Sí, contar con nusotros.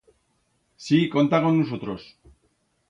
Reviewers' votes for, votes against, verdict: 1, 2, rejected